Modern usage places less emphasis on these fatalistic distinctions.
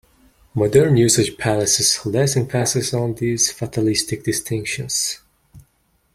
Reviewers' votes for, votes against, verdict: 2, 0, accepted